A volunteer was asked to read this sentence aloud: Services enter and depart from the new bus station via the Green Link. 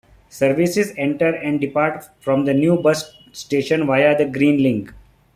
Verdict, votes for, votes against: accepted, 2, 0